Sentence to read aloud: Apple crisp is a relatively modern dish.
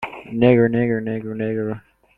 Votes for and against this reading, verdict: 0, 2, rejected